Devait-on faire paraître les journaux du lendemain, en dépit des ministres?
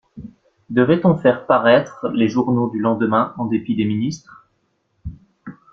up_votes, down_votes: 2, 0